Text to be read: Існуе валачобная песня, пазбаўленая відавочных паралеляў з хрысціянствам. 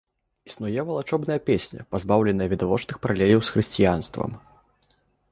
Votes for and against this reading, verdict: 2, 0, accepted